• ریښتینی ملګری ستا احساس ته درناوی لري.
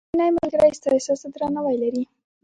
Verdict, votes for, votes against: rejected, 1, 2